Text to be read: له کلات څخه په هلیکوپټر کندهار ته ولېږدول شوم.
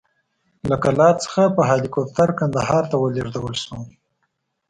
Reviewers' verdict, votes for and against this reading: rejected, 1, 2